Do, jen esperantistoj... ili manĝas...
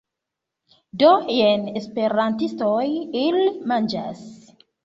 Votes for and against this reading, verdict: 1, 2, rejected